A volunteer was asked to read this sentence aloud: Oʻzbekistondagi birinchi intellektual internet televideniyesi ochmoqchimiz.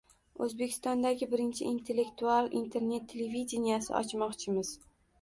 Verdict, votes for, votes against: rejected, 1, 2